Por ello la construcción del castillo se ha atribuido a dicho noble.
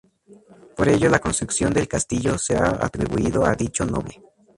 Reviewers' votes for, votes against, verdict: 0, 2, rejected